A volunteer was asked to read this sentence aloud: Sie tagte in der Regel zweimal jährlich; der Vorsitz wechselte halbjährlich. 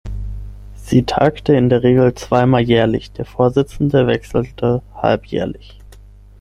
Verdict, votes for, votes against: rejected, 0, 6